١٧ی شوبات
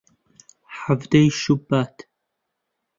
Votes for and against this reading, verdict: 0, 2, rejected